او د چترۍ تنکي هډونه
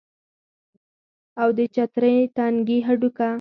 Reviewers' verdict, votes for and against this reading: accepted, 4, 2